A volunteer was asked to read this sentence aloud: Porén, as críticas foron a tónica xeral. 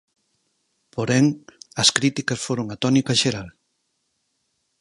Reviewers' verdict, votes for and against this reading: accepted, 4, 0